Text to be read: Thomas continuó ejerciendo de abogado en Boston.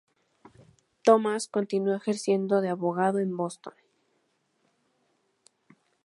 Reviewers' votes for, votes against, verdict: 2, 2, rejected